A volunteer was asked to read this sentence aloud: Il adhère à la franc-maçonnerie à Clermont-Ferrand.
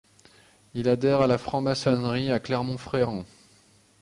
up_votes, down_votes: 1, 2